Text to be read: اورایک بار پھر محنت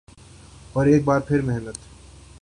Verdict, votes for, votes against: accepted, 3, 0